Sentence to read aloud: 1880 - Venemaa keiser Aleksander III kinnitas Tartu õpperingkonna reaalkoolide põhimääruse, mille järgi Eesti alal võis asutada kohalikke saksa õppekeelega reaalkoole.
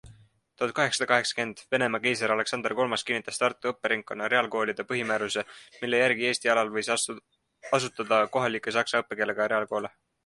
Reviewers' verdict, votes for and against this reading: rejected, 0, 2